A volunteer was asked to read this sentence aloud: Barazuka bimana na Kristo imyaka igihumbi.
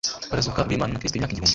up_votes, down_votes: 2, 0